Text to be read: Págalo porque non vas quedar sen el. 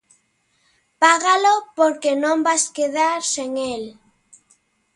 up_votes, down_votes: 3, 0